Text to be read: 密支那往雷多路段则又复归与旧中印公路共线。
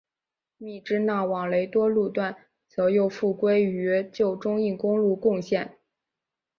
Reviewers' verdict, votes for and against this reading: accepted, 2, 0